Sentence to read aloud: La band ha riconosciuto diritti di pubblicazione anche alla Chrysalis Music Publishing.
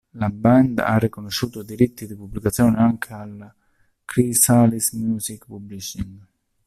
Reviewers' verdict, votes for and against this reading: rejected, 0, 2